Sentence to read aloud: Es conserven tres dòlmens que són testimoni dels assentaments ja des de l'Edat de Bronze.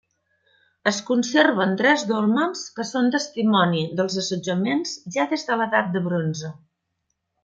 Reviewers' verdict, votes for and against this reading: rejected, 1, 2